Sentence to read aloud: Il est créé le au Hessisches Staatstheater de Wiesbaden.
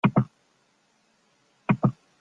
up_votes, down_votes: 0, 3